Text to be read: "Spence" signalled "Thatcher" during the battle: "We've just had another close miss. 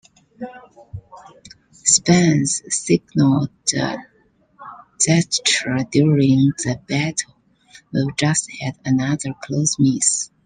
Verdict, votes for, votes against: rejected, 1, 2